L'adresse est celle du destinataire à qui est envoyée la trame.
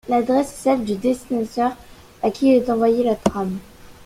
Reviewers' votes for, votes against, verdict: 0, 2, rejected